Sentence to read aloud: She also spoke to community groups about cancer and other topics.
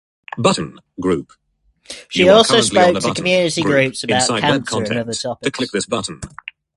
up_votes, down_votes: 0, 2